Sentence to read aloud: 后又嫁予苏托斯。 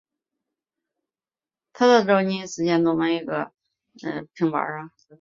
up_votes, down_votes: 0, 2